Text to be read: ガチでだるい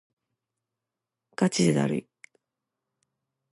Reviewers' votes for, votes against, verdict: 2, 0, accepted